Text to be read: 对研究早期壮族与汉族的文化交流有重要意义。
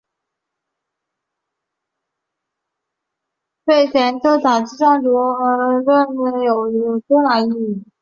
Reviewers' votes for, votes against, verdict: 2, 4, rejected